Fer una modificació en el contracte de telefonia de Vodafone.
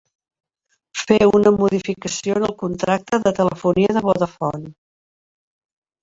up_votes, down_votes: 1, 2